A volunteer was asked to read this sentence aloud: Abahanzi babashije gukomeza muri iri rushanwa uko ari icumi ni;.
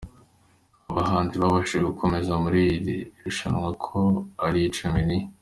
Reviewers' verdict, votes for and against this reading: accepted, 2, 0